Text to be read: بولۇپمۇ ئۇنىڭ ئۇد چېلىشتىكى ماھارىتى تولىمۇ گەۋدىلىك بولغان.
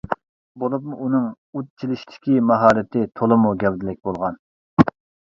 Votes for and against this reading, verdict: 2, 0, accepted